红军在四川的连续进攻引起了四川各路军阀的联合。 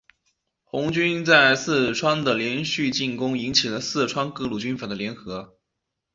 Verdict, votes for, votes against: accepted, 3, 0